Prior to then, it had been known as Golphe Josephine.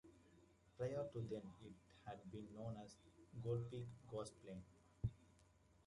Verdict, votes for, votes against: rejected, 1, 2